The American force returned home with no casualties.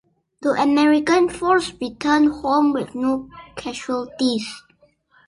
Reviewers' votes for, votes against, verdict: 2, 0, accepted